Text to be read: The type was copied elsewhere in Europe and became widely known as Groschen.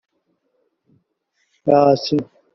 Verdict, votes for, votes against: rejected, 0, 2